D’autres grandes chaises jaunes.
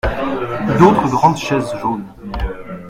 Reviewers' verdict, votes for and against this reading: accepted, 2, 0